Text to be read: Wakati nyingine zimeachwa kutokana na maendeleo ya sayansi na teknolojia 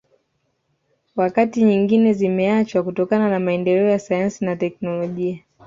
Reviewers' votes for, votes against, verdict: 2, 0, accepted